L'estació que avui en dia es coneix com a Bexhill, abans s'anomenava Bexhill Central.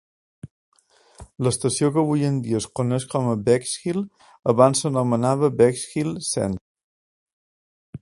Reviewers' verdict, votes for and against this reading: rejected, 0, 2